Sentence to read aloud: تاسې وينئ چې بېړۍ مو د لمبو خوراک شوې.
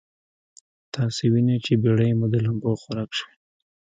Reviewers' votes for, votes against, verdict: 2, 1, accepted